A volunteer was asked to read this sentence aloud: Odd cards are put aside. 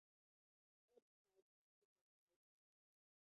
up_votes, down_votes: 0, 2